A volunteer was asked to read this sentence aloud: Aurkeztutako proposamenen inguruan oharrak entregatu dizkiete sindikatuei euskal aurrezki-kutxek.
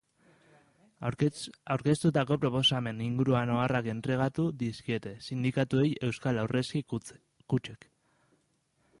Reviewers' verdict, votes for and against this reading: rejected, 0, 2